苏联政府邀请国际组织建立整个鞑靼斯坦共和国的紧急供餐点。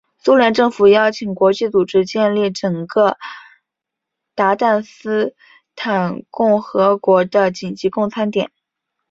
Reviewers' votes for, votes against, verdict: 2, 0, accepted